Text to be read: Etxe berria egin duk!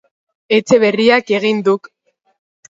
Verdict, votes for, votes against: rejected, 0, 2